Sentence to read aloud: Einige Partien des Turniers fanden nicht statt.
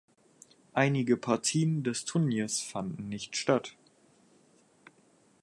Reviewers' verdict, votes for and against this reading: accepted, 4, 0